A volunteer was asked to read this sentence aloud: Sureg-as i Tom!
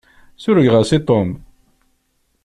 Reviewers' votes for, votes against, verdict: 0, 2, rejected